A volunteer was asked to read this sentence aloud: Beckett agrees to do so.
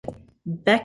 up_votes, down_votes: 0, 2